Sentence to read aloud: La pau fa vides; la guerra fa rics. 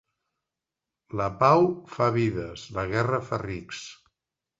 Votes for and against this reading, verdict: 2, 0, accepted